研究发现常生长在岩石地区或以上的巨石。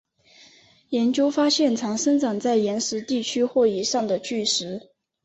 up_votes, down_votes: 4, 1